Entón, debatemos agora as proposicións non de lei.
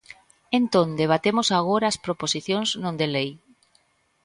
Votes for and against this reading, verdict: 2, 0, accepted